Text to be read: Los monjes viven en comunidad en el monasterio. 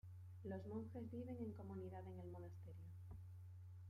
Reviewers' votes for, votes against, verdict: 0, 2, rejected